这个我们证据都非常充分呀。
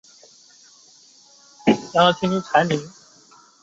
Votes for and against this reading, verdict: 2, 3, rejected